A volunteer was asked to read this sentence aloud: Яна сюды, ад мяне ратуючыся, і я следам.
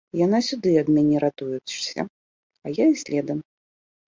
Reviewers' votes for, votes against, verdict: 0, 2, rejected